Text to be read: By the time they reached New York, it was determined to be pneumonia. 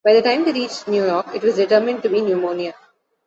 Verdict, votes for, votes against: accepted, 2, 0